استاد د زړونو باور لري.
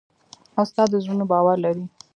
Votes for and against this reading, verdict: 1, 2, rejected